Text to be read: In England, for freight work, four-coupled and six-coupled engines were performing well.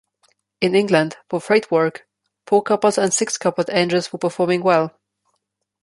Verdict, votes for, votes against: accepted, 2, 0